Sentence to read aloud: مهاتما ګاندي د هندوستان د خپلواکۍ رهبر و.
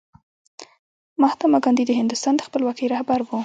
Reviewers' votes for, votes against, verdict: 1, 2, rejected